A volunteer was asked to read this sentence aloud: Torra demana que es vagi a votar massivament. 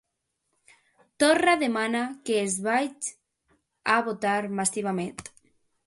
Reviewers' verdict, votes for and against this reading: rejected, 0, 2